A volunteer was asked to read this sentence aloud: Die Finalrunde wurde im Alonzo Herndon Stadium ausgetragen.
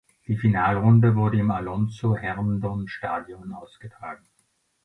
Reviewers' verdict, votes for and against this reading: accepted, 2, 0